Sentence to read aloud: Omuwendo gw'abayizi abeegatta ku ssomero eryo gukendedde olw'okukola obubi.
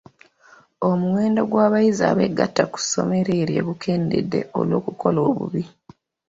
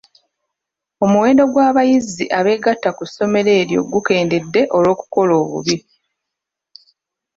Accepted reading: first